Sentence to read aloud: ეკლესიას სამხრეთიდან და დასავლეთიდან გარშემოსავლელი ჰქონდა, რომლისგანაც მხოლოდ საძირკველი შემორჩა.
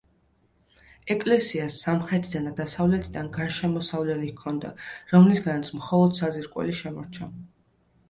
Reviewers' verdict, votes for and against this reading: accepted, 2, 0